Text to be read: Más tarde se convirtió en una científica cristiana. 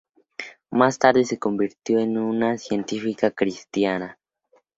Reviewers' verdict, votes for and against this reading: accepted, 2, 0